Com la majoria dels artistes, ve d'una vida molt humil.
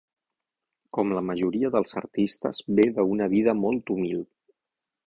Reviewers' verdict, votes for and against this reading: accepted, 6, 3